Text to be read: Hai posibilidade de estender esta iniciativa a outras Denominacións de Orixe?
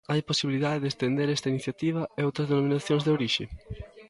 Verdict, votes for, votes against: rejected, 0, 2